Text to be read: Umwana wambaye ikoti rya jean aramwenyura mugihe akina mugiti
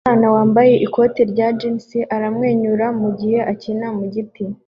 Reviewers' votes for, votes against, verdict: 2, 1, accepted